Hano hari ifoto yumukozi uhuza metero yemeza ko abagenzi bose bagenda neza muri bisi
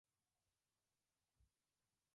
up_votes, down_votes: 0, 2